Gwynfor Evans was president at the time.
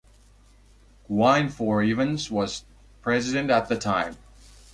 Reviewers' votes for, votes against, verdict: 2, 0, accepted